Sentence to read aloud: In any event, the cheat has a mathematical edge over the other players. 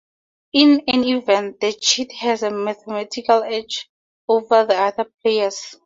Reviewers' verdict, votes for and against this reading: accepted, 2, 0